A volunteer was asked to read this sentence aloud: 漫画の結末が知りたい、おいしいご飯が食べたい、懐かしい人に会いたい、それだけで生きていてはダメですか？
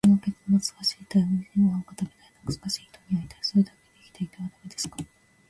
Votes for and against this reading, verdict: 0, 2, rejected